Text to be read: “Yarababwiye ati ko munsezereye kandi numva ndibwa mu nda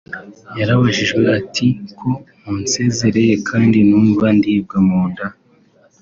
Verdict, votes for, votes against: rejected, 0, 2